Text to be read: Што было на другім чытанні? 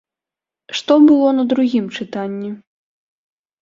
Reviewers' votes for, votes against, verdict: 2, 0, accepted